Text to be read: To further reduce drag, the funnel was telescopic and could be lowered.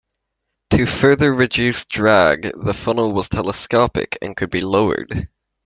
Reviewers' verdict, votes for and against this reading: accepted, 2, 0